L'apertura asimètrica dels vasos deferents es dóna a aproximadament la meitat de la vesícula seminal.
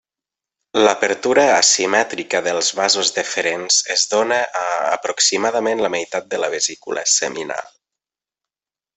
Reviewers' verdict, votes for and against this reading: accepted, 2, 0